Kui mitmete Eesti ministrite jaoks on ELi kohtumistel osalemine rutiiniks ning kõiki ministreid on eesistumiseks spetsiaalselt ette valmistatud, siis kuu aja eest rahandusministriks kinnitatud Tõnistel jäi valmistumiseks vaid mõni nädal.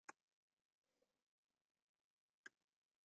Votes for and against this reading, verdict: 0, 2, rejected